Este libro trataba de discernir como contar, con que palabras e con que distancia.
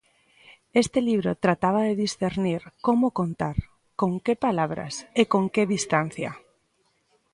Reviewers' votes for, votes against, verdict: 2, 0, accepted